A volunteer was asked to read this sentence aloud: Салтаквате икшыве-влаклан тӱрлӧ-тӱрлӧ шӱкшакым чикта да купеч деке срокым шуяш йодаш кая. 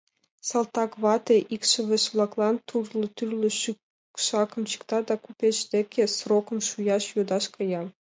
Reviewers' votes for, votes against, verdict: 2, 1, accepted